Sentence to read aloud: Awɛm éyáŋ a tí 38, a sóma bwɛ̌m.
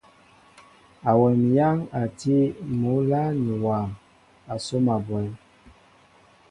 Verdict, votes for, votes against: rejected, 0, 2